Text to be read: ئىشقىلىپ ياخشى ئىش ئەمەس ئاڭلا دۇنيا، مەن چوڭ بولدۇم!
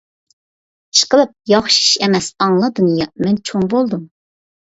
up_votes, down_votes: 2, 0